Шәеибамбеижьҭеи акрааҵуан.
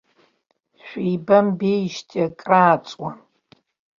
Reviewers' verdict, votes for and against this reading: accepted, 2, 0